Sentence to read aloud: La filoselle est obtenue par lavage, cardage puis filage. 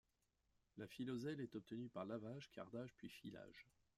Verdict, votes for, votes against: rejected, 1, 2